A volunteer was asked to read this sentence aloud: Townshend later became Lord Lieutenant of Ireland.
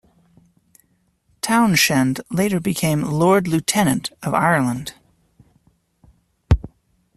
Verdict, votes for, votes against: rejected, 0, 2